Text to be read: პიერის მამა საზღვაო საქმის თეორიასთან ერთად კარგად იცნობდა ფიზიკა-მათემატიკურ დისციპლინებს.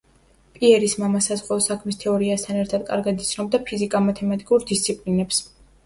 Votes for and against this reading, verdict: 2, 0, accepted